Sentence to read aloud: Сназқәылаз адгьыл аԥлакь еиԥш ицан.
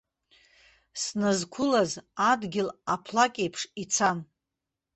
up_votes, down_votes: 2, 0